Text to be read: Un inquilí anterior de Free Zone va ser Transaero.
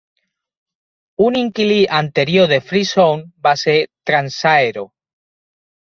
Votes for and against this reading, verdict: 2, 0, accepted